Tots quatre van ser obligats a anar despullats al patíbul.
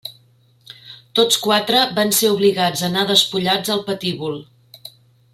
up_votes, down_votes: 1, 2